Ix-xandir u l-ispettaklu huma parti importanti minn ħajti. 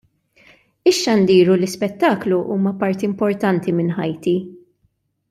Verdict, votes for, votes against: accepted, 2, 0